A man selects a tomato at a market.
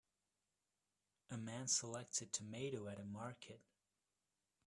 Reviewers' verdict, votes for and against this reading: rejected, 1, 2